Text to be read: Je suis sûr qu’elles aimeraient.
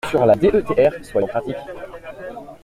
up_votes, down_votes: 0, 2